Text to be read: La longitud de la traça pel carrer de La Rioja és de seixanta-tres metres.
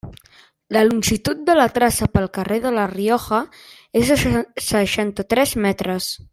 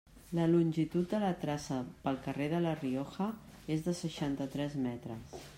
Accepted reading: second